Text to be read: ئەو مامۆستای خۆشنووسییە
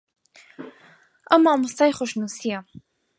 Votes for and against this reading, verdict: 4, 0, accepted